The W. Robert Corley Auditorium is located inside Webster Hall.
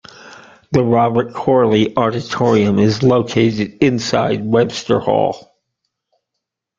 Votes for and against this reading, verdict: 1, 2, rejected